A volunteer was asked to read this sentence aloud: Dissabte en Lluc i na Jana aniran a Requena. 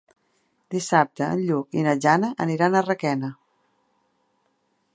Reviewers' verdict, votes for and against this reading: accepted, 2, 0